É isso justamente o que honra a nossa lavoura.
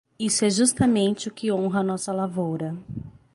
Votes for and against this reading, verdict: 3, 6, rejected